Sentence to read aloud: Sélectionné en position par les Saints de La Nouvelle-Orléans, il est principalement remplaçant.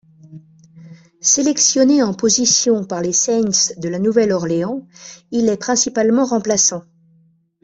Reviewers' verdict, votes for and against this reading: accepted, 2, 0